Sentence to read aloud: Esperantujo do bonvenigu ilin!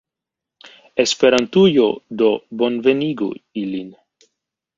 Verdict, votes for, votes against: accepted, 2, 0